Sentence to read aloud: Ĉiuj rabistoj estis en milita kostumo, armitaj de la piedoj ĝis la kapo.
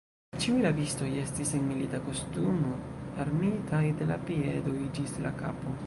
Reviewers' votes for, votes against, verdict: 0, 2, rejected